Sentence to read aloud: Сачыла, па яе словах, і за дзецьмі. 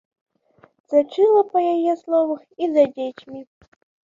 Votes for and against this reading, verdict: 2, 0, accepted